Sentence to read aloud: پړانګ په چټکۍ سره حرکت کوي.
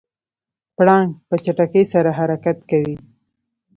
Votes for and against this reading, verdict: 0, 2, rejected